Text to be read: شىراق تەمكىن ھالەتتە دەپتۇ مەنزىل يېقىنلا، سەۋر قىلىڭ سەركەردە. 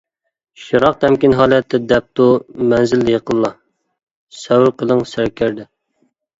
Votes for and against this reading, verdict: 2, 0, accepted